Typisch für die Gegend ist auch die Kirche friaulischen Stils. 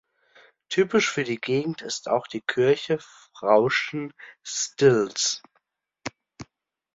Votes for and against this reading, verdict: 0, 2, rejected